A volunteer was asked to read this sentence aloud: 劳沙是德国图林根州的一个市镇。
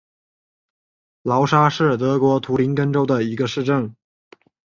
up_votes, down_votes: 3, 0